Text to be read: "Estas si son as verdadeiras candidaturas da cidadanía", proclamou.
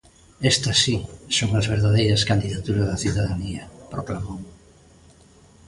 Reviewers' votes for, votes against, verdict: 2, 0, accepted